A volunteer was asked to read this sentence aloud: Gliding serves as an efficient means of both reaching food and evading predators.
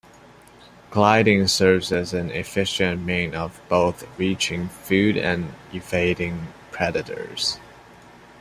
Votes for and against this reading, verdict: 1, 2, rejected